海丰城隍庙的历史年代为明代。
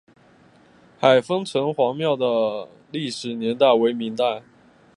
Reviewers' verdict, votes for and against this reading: accepted, 2, 0